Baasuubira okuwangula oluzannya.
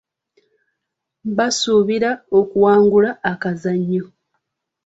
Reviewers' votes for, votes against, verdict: 0, 2, rejected